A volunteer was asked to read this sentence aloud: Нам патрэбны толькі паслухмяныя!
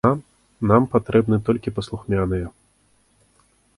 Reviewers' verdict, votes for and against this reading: rejected, 1, 2